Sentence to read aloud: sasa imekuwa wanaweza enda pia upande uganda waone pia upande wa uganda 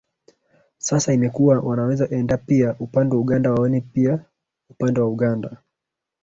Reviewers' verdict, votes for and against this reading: rejected, 1, 2